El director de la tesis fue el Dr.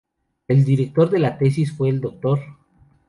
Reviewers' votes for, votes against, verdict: 2, 0, accepted